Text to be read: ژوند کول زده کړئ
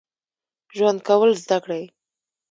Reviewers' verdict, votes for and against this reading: rejected, 1, 2